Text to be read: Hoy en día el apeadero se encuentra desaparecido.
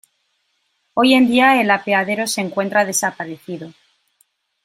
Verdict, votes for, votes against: accepted, 2, 0